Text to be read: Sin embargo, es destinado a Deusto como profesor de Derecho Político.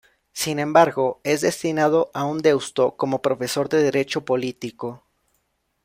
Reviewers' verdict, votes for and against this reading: rejected, 1, 2